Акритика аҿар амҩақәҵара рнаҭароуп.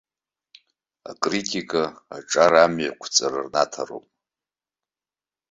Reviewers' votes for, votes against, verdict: 2, 0, accepted